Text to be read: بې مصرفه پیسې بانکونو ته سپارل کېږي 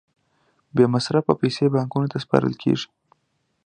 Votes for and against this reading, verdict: 2, 0, accepted